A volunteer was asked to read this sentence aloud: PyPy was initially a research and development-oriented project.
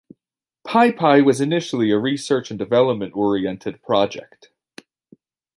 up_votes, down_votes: 2, 0